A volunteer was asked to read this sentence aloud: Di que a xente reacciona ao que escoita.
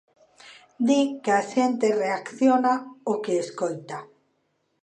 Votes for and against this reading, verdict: 2, 0, accepted